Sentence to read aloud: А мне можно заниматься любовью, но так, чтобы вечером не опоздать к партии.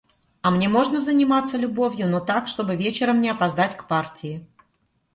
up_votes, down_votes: 2, 0